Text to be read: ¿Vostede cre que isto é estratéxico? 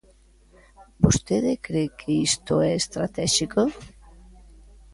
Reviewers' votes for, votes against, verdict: 2, 0, accepted